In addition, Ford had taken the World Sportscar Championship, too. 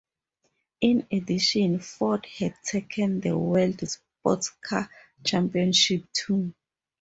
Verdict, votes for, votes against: accepted, 4, 0